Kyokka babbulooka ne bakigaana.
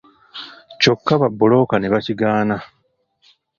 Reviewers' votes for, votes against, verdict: 2, 1, accepted